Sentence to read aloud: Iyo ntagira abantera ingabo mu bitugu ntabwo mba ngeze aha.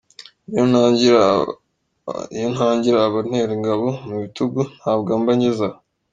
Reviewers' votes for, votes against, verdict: 2, 1, accepted